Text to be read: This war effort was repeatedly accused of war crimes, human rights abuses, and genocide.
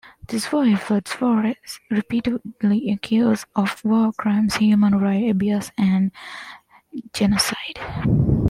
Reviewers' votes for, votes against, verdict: 0, 2, rejected